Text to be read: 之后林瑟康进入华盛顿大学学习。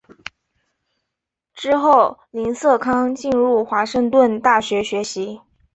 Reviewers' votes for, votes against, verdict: 2, 0, accepted